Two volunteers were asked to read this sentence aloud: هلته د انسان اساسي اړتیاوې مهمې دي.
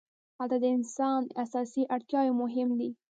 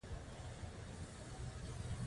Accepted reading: second